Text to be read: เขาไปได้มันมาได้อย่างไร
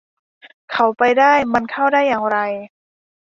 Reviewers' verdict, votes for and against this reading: rejected, 0, 2